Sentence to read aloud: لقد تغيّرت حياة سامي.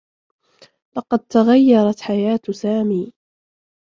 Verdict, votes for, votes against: rejected, 1, 2